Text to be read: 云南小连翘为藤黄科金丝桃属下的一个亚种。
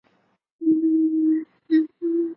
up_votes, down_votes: 0, 2